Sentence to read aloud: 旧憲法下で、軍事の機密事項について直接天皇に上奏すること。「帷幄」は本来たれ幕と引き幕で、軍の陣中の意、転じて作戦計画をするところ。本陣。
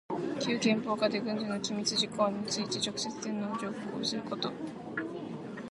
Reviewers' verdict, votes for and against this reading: rejected, 1, 2